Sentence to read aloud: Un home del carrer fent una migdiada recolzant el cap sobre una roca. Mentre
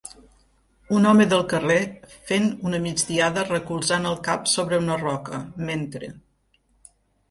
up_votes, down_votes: 4, 0